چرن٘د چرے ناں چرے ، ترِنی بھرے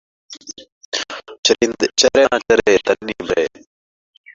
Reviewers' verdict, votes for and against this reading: rejected, 0, 2